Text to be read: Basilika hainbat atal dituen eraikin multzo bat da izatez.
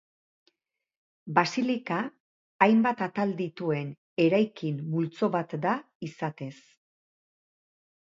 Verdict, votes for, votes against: accepted, 3, 0